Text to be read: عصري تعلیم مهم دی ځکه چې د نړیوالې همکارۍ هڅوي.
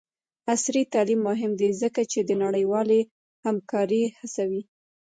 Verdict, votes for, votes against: rejected, 1, 2